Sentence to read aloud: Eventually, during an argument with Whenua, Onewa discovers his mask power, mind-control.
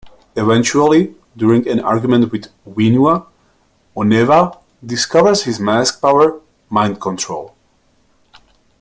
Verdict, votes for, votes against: accepted, 7, 0